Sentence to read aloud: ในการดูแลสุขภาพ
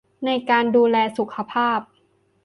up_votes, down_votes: 3, 0